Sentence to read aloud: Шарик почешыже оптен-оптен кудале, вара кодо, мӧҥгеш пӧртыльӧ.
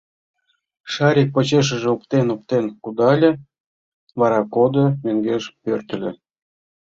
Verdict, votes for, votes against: accepted, 2, 1